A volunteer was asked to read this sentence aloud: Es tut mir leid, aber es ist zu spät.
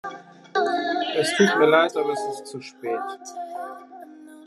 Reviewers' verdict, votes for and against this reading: accepted, 3, 0